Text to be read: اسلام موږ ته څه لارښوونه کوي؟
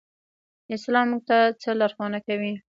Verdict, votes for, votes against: accepted, 2, 0